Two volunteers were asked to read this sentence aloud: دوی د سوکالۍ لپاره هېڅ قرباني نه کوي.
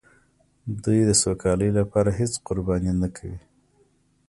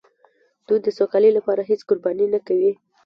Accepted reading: first